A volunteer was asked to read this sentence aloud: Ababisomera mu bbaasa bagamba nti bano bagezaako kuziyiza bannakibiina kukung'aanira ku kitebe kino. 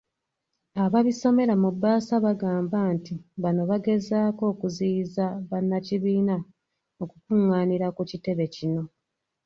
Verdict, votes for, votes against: accepted, 2, 0